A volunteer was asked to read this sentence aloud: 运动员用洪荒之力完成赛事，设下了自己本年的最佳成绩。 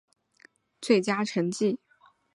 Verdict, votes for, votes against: rejected, 1, 2